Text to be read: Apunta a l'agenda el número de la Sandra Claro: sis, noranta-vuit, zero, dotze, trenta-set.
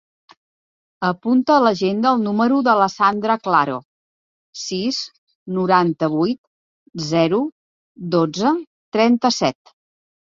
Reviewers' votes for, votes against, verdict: 2, 0, accepted